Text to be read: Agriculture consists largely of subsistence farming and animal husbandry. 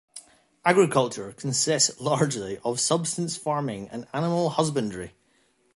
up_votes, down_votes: 2, 0